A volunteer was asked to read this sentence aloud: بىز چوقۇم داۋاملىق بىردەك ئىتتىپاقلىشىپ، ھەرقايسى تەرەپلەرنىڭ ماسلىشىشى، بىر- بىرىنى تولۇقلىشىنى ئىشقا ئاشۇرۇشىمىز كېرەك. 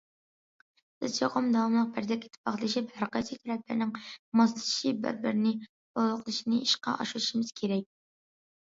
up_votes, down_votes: 1, 2